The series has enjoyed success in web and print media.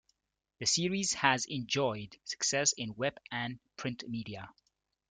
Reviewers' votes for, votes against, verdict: 2, 0, accepted